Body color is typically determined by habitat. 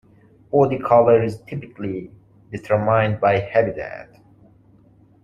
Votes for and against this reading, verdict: 0, 2, rejected